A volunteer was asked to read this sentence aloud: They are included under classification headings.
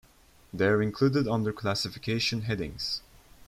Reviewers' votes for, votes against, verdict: 0, 2, rejected